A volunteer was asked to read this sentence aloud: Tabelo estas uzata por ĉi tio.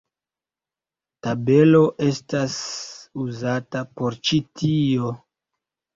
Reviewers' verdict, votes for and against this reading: rejected, 1, 2